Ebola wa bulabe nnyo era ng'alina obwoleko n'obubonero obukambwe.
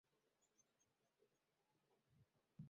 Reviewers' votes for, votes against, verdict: 0, 2, rejected